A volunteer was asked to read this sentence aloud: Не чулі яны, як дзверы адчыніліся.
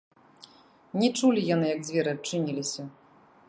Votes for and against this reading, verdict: 0, 2, rejected